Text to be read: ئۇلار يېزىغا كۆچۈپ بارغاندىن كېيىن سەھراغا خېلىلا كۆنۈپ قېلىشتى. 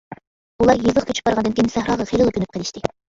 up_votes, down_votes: 2, 1